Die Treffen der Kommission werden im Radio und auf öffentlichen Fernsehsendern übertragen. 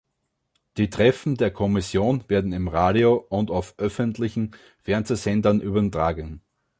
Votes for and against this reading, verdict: 2, 1, accepted